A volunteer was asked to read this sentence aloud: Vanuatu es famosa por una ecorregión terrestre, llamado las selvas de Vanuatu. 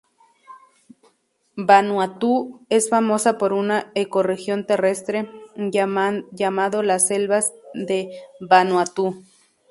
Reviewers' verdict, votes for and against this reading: rejected, 0, 2